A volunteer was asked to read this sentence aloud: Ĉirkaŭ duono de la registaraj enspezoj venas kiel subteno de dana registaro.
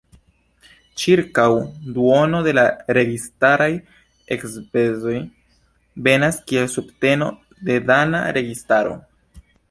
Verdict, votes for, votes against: rejected, 1, 2